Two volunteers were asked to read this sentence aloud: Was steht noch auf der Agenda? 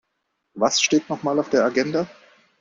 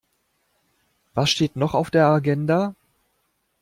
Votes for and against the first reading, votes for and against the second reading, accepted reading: 0, 2, 2, 0, second